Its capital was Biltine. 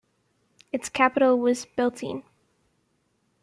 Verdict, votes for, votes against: accepted, 2, 0